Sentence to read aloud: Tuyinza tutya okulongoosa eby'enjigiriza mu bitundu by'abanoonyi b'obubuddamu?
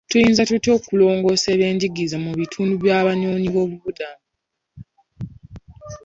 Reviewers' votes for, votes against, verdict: 2, 1, accepted